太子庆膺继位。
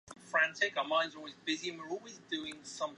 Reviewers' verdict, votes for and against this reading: rejected, 1, 2